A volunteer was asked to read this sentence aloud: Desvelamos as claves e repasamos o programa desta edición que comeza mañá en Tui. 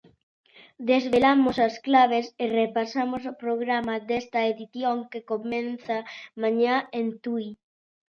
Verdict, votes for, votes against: rejected, 0, 2